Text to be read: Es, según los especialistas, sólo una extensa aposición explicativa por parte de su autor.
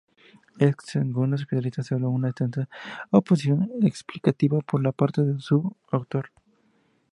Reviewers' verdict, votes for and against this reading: accepted, 2, 0